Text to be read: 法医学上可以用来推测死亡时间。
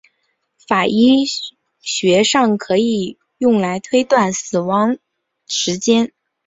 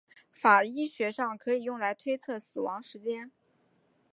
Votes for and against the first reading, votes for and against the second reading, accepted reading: 0, 2, 2, 1, second